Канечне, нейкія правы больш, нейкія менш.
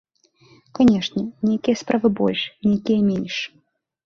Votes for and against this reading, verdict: 1, 2, rejected